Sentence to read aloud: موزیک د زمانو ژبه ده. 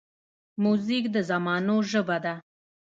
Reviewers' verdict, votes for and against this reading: accepted, 2, 1